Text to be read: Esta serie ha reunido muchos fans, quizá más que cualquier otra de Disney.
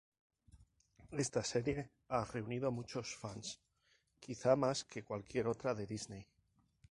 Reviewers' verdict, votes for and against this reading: rejected, 2, 2